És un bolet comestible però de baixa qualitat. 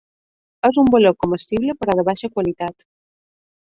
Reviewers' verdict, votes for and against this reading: accepted, 2, 0